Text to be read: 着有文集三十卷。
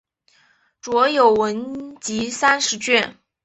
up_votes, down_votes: 3, 1